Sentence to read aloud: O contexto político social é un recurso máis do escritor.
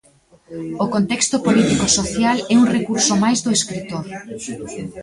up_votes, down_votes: 1, 2